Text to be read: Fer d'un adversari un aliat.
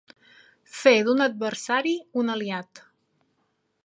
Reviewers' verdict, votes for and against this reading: accepted, 3, 0